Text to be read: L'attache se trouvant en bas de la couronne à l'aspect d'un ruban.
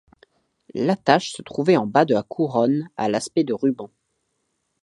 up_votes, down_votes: 1, 2